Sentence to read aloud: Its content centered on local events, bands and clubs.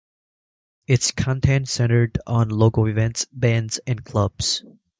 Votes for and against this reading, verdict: 2, 1, accepted